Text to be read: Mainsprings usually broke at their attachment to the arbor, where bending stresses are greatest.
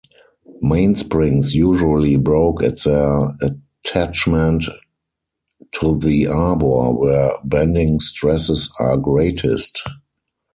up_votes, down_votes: 4, 0